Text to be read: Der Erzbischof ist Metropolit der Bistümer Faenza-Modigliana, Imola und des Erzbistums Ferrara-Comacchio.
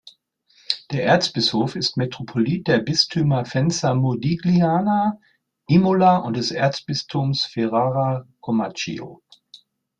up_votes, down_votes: 2, 0